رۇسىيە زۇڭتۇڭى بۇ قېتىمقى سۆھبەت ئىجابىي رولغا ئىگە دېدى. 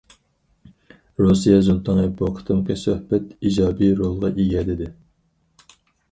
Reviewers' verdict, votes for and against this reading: rejected, 2, 4